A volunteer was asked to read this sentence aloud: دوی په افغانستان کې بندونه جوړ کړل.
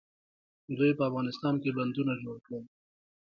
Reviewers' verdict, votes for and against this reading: accepted, 2, 1